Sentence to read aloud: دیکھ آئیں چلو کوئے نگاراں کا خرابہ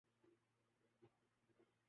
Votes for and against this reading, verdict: 1, 2, rejected